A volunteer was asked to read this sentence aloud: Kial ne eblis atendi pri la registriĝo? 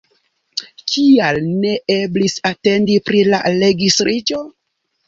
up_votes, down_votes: 0, 2